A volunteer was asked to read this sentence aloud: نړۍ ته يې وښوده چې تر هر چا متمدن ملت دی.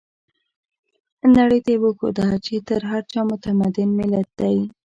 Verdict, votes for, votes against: accepted, 2, 1